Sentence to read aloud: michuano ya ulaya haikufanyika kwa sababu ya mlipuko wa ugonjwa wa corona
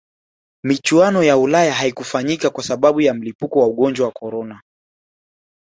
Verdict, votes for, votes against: accepted, 2, 1